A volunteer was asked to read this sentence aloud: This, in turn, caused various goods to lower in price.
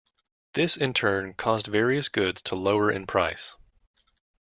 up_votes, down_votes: 2, 0